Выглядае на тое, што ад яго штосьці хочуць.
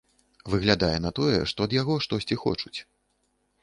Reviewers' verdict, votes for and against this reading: accepted, 2, 0